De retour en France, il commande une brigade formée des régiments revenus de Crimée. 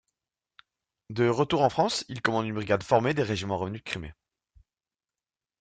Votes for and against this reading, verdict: 1, 2, rejected